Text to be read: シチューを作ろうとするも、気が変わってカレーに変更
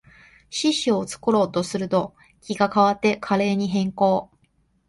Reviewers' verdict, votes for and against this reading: rejected, 0, 2